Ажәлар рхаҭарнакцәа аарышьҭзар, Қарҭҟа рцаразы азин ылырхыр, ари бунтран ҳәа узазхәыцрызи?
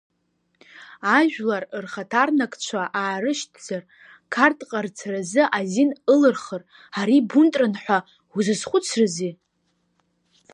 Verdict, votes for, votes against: rejected, 1, 2